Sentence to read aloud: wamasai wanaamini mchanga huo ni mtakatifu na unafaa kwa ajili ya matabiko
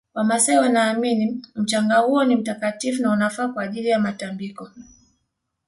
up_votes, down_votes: 1, 2